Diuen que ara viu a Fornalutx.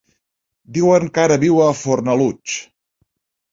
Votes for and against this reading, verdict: 3, 0, accepted